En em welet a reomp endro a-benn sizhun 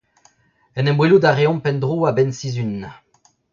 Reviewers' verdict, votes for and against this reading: rejected, 1, 2